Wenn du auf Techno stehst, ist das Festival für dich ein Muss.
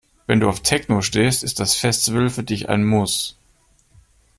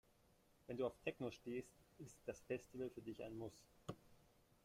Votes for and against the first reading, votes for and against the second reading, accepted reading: 2, 0, 1, 2, first